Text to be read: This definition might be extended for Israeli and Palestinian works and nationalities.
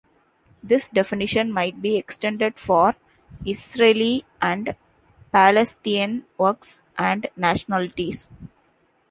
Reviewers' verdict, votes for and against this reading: accepted, 2, 1